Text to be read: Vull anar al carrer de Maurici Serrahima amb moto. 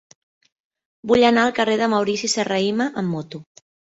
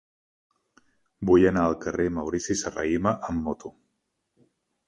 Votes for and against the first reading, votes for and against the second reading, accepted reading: 2, 0, 0, 2, first